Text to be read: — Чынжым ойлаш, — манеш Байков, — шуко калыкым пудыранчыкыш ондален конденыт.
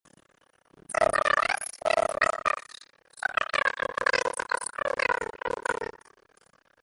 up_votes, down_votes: 0, 2